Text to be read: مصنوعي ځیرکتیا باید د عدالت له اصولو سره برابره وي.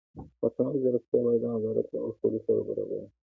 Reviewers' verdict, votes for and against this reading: rejected, 0, 2